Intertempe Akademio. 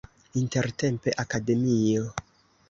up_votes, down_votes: 1, 2